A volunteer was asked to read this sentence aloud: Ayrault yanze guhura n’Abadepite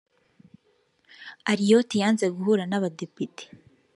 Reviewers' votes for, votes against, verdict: 2, 0, accepted